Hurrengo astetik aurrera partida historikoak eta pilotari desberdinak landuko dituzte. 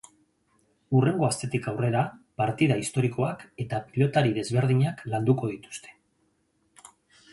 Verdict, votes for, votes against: accepted, 3, 0